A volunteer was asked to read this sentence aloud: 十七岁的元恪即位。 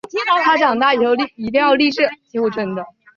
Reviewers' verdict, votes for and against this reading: rejected, 1, 5